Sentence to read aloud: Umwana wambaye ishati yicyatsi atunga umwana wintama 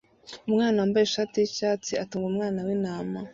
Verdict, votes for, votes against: accepted, 2, 0